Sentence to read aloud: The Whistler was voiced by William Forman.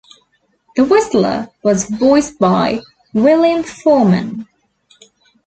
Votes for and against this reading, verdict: 2, 0, accepted